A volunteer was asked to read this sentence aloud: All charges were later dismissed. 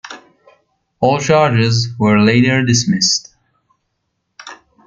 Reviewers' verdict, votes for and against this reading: accepted, 2, 1